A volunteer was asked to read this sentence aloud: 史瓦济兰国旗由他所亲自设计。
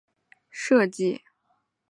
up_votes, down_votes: 0, 4